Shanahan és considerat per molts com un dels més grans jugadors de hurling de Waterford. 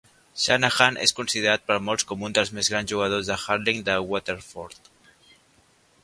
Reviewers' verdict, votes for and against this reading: accepted, 2, 0